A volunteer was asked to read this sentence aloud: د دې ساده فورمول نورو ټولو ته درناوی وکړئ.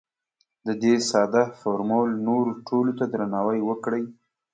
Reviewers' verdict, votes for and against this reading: accepted, 2, 0